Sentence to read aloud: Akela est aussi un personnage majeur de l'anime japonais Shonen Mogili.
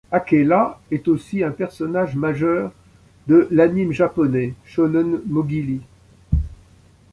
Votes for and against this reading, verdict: 2, 0, accepted